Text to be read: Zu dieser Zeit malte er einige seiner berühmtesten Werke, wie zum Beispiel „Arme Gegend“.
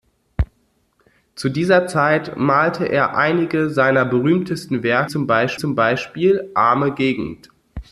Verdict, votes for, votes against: rejected, 0, 2